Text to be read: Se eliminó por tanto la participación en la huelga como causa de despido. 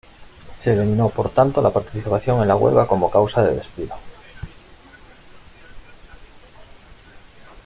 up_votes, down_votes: 2, 0